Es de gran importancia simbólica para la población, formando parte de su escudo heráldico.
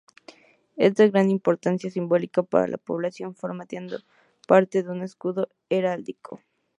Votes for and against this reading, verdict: 2, 0, accepted